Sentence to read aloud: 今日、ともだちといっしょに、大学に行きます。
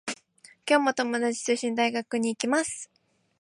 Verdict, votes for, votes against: rejected, 0, 2